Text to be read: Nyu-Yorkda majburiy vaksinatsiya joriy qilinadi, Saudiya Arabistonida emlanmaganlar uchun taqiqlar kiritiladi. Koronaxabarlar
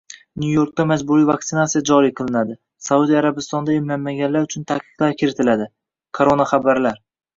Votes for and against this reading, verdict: 1, 2, rejected